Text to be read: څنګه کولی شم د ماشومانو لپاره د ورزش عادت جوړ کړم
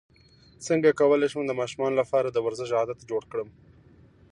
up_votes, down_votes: 0, 2